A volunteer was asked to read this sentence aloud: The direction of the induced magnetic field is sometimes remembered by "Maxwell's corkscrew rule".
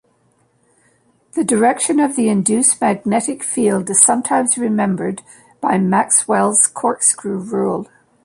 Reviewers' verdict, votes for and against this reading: accepted, 2, 1